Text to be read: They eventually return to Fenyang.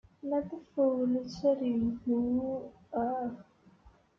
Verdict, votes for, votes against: rejected, 0, 2